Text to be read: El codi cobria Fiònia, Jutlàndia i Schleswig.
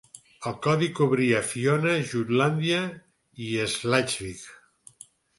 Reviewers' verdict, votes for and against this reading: accepted, 4, 2